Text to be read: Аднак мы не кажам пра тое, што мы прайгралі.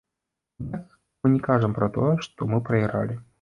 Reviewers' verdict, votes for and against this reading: rejected, 0, 2